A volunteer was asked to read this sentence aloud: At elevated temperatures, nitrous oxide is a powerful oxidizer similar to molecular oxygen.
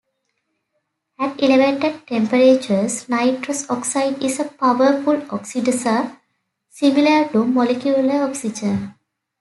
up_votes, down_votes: 2, 0